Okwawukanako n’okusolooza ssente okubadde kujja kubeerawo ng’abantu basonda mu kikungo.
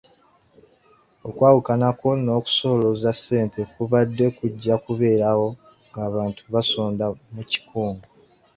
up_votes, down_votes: 0, 2